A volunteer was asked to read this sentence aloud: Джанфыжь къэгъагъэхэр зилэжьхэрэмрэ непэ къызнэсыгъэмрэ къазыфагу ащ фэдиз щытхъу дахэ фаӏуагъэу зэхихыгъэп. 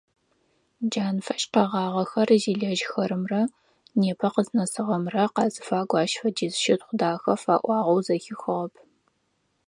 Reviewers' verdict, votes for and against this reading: accepted, 4, 0